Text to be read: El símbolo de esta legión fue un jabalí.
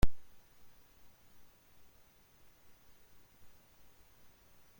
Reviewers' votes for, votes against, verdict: 0, 2, rejected